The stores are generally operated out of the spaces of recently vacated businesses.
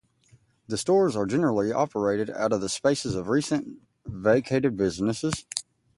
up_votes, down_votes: 0, 2